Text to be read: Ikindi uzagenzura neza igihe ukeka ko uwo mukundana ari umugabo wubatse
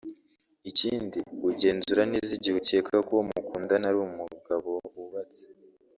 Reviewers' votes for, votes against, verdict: 1, 2, rejected